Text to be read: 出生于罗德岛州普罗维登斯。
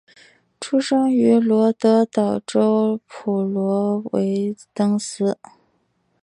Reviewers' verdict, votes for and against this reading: accepted, 3, 0